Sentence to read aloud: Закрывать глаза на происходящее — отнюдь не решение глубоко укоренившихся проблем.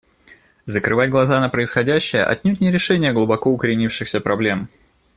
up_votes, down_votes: 2, 0